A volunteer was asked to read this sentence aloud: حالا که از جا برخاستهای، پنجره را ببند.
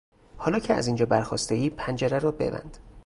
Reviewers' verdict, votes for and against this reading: rejected, 0, 4